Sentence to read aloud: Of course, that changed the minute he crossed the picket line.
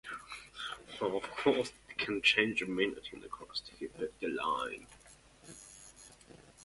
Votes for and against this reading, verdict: 0, 2, rejected